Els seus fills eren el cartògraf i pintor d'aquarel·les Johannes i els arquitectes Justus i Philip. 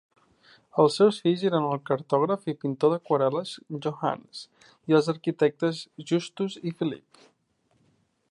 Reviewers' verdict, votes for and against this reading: accepted, 3, 2